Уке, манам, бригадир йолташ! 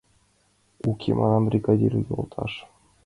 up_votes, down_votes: 2, 1